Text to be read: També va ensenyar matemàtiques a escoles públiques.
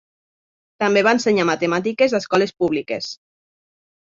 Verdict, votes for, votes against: accepted, 3, 0